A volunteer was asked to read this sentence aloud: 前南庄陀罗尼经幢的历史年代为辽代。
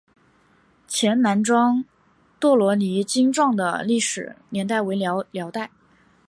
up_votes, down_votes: 1, 3